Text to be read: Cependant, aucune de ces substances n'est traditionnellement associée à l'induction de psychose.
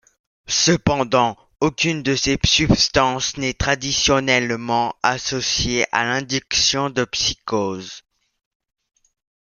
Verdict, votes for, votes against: rejected, 1, 2